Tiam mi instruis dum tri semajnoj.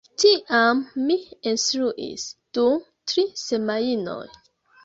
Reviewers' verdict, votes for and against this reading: rejected, 1, 2